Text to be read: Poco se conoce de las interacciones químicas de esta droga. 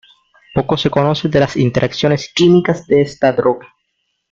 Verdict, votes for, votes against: rejected, 0, 2